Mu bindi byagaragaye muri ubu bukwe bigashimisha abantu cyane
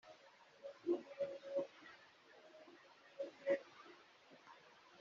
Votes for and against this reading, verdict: 0, 3, rejected